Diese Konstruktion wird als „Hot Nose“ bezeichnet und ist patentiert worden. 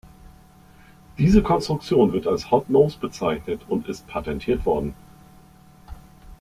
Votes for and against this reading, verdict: 2, 0, accepted